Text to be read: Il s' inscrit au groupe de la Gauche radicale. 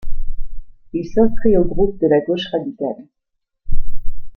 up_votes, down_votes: 1, 2